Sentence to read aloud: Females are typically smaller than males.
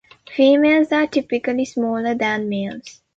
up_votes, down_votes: 2, 0